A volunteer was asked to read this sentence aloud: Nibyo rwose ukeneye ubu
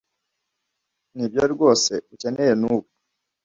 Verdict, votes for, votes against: rejected, 1, 2